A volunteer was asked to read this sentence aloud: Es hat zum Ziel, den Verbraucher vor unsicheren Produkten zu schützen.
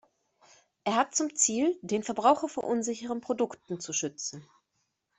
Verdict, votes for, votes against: rejected, 2, 3